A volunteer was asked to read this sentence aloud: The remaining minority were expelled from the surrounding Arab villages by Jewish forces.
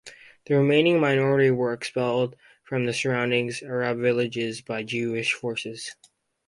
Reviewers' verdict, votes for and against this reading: rejected, 2, 2